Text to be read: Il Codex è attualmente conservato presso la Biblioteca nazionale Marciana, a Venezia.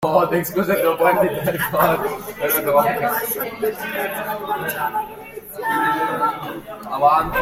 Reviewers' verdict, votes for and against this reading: rejected, 0, 3